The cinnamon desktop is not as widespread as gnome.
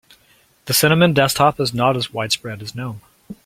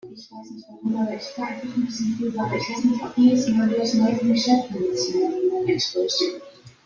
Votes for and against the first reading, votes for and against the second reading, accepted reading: 2, 0, 0, 2, first